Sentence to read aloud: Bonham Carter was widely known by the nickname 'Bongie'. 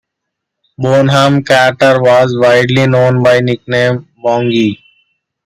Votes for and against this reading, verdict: 2, 1, accepted